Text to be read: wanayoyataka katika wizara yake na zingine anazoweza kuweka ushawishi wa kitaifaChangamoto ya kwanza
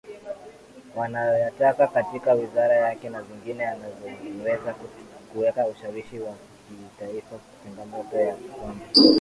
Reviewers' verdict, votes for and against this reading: accepted, 2, 1